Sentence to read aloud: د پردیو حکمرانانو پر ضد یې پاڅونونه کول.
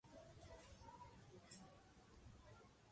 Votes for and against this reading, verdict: 0, 2, rejected